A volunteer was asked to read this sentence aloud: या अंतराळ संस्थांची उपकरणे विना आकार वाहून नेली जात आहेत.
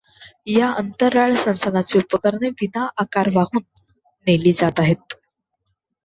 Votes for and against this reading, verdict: 1, 2, rejected